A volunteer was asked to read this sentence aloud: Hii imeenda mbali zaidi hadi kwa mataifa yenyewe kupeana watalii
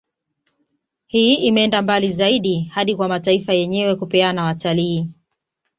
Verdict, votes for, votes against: accepted, 2, 0